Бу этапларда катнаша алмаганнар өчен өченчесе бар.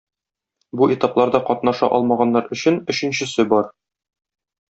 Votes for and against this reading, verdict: 2, 0, accepted